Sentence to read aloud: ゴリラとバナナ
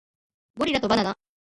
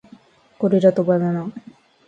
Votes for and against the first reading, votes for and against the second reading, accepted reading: 1, 2, 2, 0, second